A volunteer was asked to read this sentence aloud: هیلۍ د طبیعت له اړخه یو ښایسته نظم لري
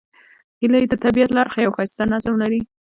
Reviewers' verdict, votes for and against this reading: rejected, 0, 2